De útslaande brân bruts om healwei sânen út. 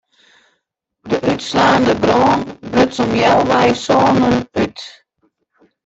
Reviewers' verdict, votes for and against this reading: rejected, 0, 2